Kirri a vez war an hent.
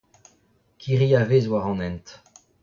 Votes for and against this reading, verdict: 0, 2, rejected